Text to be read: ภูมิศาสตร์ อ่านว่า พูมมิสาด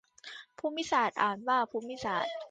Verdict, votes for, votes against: accepted, 2, 0